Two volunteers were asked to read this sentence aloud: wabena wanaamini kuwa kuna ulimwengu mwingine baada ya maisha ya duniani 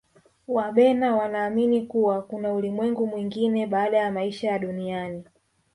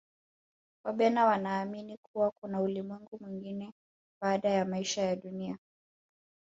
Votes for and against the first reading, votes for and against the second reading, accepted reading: 0, 2, 2, 0, second